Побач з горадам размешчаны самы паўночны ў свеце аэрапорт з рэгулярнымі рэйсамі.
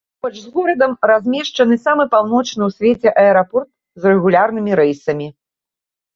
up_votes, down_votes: 1, 2